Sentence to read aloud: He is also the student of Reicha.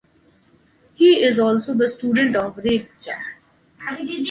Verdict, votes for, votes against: accepted, 2, 0